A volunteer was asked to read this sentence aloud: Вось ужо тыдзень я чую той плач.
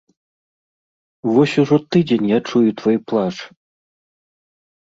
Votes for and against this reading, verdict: 1, 2, rejected